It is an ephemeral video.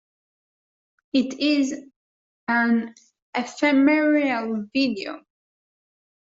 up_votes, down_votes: 0, 2